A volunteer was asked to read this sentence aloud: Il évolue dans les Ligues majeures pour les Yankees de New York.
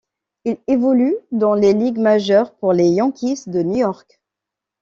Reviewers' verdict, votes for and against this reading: accepted, 2, 1